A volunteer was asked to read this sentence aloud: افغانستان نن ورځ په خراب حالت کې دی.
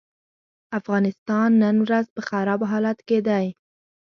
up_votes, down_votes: 2, 0